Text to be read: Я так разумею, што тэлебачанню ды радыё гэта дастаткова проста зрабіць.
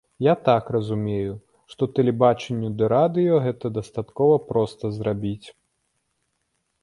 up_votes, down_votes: 2, 0